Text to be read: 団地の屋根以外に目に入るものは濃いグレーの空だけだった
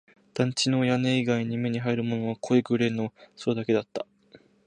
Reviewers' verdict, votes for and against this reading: accepted, 17, 1